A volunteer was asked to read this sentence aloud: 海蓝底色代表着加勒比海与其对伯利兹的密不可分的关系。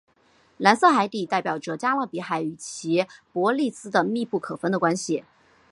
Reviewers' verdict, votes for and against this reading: accepted, 2, 1